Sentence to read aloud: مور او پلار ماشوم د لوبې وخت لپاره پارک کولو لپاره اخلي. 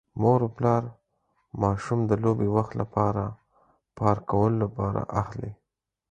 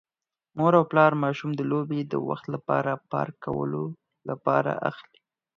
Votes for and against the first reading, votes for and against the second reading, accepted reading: 4, 0, 2, 4, first